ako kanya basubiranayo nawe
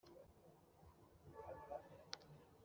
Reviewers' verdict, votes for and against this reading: rejected, 1, 2